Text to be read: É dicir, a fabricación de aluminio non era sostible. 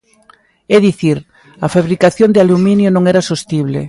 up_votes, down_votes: 2, 0